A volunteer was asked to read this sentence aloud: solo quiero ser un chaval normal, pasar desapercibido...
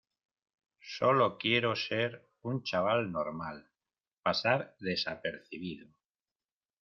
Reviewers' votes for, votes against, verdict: 2, 0, accepted